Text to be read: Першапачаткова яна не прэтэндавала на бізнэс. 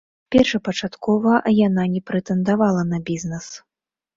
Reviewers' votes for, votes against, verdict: 2, 0, accepted